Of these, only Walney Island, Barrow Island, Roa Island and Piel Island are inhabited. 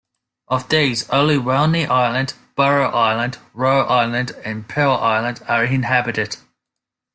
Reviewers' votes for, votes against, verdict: 2, 0, accepted